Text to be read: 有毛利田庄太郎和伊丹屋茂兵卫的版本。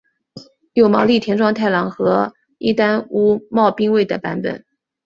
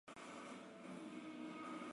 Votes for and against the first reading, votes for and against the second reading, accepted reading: 2, 0, 0, 2, first